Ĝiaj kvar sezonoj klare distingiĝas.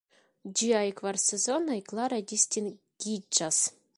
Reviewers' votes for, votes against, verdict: 2, 0, accepted